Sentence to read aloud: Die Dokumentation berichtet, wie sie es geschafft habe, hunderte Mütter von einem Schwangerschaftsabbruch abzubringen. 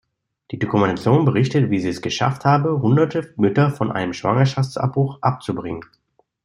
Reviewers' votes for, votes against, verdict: 2, 0, accepted